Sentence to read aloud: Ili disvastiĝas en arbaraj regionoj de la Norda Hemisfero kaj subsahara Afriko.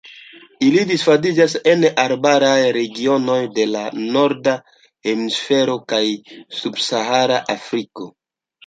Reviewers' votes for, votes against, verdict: 2, 0, accepted